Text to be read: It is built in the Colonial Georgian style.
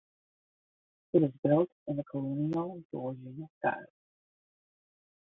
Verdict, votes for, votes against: rejected, 5, 10